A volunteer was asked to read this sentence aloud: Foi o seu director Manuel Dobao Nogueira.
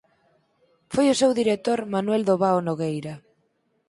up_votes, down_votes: 4, 0